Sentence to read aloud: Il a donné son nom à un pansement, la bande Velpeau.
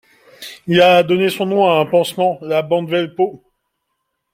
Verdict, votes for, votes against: accepted, 2, 0